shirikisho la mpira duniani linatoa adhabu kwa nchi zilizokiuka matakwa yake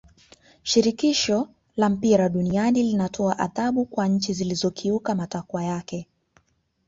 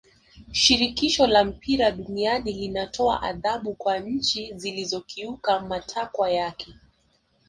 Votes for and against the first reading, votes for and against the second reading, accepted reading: 2, 0, 1, 2, first